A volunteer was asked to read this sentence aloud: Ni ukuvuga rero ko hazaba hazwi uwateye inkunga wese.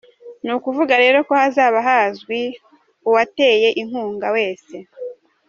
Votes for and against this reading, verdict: 2, 0, accepted